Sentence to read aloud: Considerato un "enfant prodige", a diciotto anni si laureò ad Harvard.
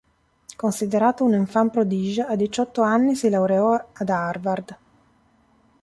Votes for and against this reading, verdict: 2, 0, accepted